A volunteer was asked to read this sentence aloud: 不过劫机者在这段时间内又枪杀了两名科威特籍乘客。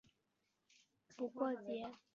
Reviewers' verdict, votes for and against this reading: rejected, 3, 4